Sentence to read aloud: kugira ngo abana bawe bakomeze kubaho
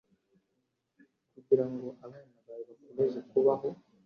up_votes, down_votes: 2, 0